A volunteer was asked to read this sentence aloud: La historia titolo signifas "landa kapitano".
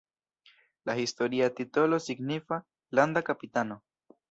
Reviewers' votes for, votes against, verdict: 2, 0, accepted